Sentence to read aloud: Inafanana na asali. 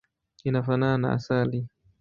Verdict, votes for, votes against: accepted, 2, 0